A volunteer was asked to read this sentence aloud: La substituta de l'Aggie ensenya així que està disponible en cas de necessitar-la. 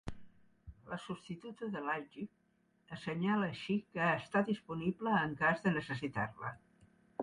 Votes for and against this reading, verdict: 0, 2, rejected